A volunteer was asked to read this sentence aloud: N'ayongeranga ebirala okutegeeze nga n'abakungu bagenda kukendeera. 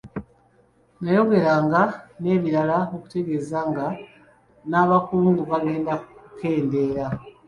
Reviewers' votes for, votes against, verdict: 0, 2, rejected